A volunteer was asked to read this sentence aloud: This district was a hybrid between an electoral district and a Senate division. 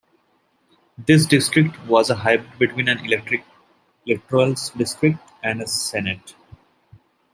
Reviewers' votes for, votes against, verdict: 1, 2, rejected